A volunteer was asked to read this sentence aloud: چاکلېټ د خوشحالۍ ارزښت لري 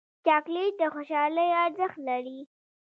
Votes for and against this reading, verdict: 1, 2, rejected